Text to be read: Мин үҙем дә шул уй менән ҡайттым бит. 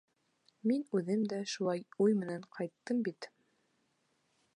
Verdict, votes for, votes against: rejected, 0, 2